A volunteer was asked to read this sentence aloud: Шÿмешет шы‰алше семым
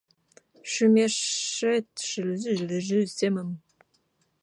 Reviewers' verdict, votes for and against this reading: rejected, 0, 2